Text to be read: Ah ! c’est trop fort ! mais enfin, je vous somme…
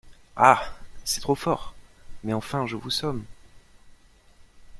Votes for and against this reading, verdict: 2, 0, accepted